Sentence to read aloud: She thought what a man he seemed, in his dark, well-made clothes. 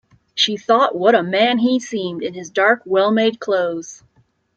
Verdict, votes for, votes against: accepted, 2, 0